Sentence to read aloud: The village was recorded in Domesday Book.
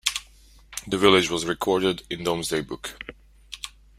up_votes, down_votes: 1, 2